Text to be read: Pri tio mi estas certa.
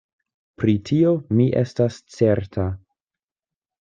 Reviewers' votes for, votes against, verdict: 2, 0, accepted